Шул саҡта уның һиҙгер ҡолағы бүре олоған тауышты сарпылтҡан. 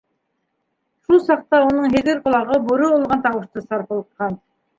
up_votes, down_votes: 1, 2